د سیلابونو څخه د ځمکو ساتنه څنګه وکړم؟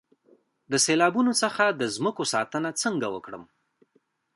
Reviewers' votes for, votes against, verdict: 2, 1, accepted